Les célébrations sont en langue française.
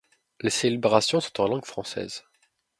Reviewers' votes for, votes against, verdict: 1, 2, rejected